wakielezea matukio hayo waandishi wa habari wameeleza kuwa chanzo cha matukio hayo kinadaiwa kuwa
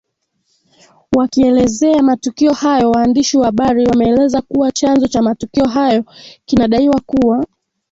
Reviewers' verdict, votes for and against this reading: accepted, 2, 0